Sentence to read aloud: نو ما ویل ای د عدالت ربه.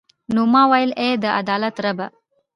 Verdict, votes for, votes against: rejected, 1, 2